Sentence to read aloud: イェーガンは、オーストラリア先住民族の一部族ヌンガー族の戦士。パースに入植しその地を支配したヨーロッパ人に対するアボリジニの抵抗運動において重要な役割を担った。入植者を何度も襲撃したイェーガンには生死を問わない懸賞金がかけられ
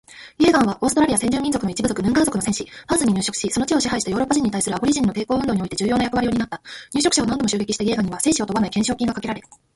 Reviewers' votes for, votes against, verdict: 2, 0, accepted